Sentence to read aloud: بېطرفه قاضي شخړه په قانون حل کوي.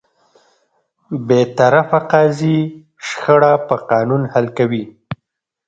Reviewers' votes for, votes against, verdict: 1, 2, rejected